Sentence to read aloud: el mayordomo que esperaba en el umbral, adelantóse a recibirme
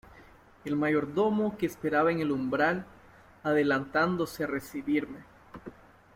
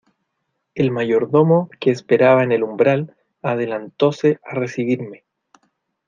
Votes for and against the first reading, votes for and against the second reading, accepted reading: 0, 2, 2, 0, second